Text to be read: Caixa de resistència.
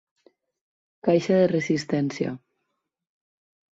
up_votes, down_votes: 4, 0